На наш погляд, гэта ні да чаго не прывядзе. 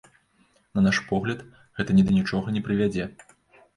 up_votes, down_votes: 0, 2